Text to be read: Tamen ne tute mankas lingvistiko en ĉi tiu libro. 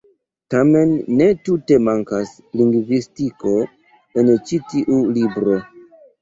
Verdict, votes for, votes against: accepted, 2, 0